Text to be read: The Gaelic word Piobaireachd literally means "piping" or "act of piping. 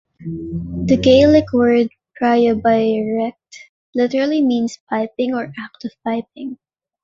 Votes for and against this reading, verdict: 2, 1, accepted